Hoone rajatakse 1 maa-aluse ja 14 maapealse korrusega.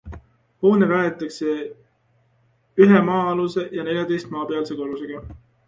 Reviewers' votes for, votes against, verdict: 0, 2, rejected